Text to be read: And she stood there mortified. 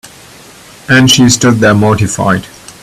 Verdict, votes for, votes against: accepted, 2, 1